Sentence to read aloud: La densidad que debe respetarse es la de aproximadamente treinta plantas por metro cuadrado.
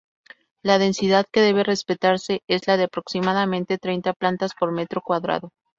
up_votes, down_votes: 2, 0